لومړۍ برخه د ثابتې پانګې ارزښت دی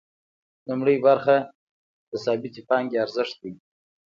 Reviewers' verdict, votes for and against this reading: accepted, 2, 0